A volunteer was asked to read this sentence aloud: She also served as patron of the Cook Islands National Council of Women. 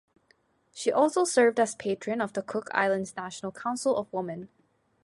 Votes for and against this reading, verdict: 2, 0, accepted